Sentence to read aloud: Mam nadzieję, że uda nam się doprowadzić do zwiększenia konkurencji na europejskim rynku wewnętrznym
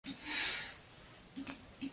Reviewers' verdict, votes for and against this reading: rejected, 0, 2